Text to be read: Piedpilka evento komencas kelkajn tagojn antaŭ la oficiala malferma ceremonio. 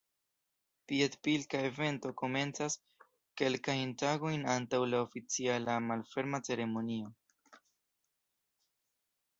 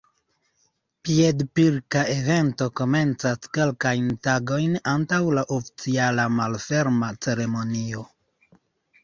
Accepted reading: first